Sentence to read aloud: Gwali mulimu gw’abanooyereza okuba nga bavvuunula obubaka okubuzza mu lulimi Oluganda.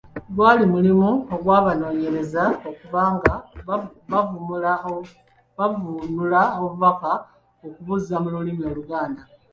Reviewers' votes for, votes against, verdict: 0, 2, rejected